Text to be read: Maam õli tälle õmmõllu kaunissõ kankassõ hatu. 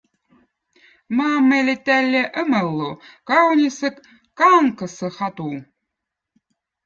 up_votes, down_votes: 2, 0